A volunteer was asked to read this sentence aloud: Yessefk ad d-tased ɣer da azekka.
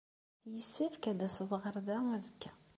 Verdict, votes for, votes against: accepted, 2, 0